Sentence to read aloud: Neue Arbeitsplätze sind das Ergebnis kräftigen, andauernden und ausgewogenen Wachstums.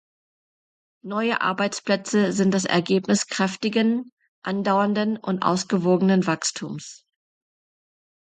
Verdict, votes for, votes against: accepted, 2, 0